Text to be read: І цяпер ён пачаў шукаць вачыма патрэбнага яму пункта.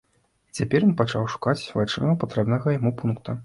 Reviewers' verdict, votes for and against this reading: rejected, 1, 2